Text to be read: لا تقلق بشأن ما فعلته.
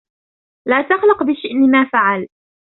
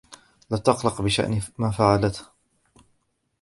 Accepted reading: first